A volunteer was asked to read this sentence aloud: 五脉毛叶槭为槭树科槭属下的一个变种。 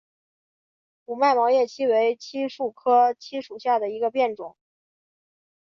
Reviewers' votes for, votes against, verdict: 6, 1, accepted